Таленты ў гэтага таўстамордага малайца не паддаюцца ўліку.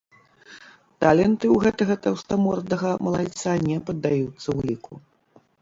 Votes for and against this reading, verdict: 2, 0, accepted